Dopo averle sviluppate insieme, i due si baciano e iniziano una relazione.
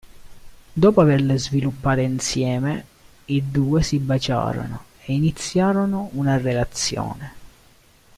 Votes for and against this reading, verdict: 0, 3, rejected